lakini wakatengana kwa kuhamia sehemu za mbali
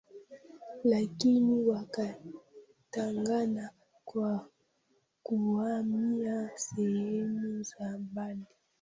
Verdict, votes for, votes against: rejected, 0, 2